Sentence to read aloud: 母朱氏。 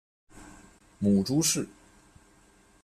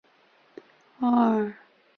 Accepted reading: first